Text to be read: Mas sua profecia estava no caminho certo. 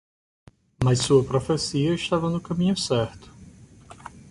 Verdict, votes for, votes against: accepted, 2, 0